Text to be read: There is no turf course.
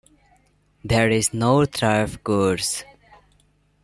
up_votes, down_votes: 2, 0